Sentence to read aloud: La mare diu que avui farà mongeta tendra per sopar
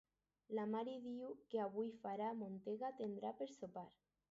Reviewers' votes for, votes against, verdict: 6, 0, accepted